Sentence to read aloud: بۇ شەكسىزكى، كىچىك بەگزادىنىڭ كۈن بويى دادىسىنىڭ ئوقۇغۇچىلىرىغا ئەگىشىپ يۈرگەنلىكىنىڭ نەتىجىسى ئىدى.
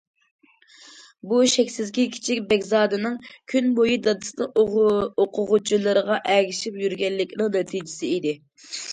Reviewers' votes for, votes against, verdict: 1, 2, rejected